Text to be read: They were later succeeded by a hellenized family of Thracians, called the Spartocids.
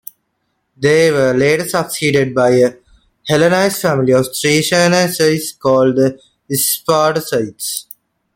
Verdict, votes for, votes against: rejected, 0, 2